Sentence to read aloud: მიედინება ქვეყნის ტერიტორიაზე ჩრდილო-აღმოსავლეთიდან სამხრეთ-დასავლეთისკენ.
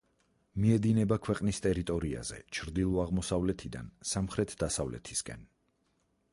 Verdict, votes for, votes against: rejected, 2, 4